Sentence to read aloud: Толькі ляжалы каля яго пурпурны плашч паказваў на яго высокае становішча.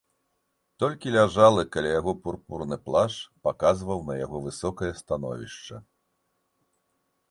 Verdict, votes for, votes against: accepted, 2, 0